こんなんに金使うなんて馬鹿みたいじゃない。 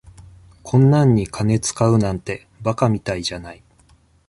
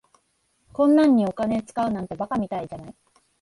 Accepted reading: first